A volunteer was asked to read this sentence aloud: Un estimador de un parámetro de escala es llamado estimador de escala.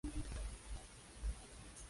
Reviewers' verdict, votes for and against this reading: rejected, 0, 2